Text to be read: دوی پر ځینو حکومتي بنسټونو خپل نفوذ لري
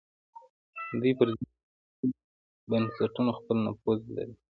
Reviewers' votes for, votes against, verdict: 1, 2, rejected